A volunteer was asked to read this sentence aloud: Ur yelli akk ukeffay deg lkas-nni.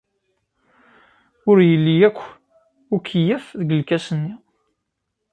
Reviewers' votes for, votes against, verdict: 0, 2, rejected